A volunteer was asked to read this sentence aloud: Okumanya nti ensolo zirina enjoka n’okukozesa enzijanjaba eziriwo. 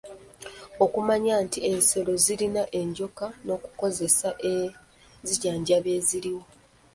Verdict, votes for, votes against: rejected, 1, 2